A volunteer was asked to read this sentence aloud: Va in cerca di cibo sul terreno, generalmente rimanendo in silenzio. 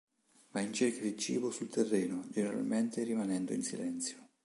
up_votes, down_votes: 2, 0